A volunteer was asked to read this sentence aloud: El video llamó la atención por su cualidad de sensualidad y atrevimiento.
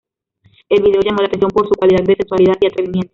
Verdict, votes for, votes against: rejected, 0, 2